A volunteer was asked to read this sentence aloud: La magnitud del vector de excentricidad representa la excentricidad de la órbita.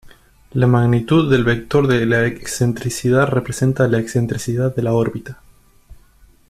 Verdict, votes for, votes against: rejected, 0, 2